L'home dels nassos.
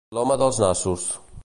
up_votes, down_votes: 2, 0